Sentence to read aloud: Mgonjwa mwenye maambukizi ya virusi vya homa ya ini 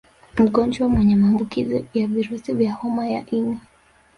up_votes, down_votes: 2, 0